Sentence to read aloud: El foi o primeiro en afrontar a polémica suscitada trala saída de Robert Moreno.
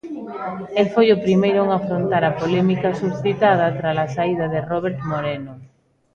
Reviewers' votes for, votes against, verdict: 2, 0, accepted